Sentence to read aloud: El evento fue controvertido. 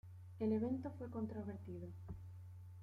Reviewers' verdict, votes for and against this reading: accepted, 2, 1